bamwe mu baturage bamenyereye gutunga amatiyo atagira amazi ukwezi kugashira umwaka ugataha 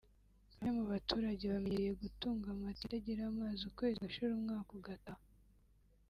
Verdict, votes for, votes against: accepted, 3, 0